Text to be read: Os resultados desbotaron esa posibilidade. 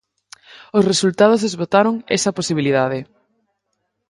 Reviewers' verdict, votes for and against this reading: rejected, 2, 2